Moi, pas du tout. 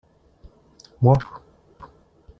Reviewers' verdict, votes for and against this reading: rejected, 0, 2